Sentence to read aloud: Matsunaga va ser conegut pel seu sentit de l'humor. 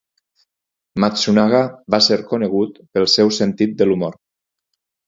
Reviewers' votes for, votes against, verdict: 4, 0, accepted